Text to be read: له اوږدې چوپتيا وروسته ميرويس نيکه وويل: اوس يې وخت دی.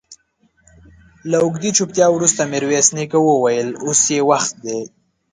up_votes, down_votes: 2, 0